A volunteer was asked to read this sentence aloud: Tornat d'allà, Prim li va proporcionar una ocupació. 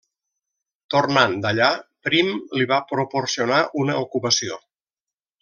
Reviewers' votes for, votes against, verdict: 0, 2, rejected